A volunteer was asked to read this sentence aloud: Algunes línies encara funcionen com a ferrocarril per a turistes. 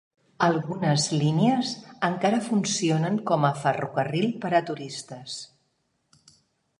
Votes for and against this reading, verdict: 2, 0, accepted